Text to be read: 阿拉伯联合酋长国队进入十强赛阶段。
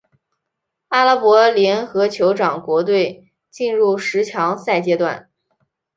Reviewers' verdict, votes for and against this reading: accepted, 2, 0